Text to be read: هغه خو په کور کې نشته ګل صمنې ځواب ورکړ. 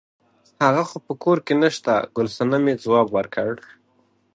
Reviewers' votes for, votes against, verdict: 2, 1, accepted